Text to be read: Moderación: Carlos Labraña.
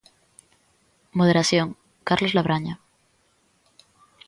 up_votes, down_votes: 2, 0